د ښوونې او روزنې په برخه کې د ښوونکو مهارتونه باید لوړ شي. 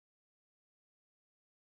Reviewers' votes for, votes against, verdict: 0, 2, rejected